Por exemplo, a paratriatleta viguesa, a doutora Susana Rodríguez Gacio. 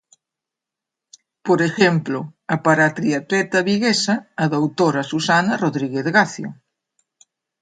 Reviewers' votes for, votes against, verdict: 0, 2, rejected